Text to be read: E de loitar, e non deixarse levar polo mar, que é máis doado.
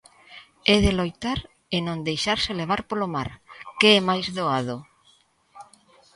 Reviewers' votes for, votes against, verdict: 2, 0, accepted